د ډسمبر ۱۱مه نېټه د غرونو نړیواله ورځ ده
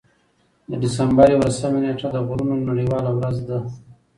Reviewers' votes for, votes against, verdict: 0, 2, rejected